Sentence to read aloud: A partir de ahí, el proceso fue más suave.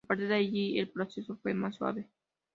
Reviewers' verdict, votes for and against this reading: rejected, 0, 2